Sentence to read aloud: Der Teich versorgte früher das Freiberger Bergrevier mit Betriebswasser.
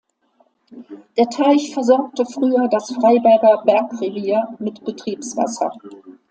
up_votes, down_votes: 2, 0